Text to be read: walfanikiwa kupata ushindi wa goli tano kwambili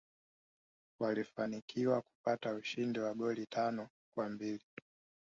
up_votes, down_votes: 0, 2